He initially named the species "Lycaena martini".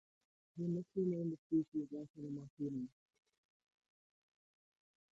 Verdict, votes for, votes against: rejected, 2, 4